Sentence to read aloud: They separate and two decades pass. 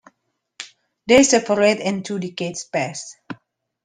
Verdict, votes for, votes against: accepted, 2, 1